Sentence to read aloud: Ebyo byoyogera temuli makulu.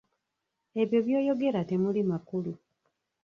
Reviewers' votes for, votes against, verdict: 1, 2, rejected